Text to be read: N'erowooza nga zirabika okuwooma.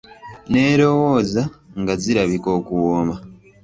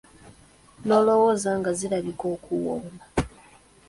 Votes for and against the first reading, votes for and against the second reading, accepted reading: 2, 0, 1, 2, first